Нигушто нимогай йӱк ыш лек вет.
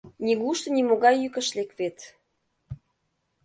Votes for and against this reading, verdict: 2, 0, accepted